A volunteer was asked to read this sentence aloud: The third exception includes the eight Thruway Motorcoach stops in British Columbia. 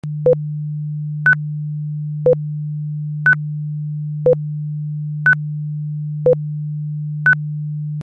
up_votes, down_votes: 0, 2